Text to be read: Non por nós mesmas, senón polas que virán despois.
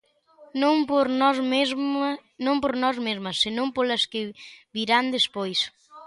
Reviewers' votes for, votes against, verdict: 0, 2, rejected